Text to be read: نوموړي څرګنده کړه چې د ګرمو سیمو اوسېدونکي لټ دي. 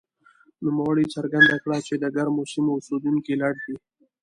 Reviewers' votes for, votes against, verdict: 2, 0, accepted